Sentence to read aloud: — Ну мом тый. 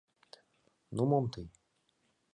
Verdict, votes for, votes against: accepted, 2, 0